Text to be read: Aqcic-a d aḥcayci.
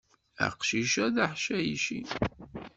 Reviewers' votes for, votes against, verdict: 2, 0, accepted